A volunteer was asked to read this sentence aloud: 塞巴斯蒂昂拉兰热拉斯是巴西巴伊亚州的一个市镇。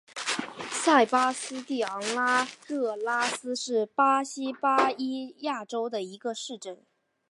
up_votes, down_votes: 2, 0